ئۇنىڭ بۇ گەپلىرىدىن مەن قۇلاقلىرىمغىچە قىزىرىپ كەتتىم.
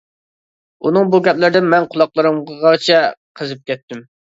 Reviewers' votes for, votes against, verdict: 0, 2, rejected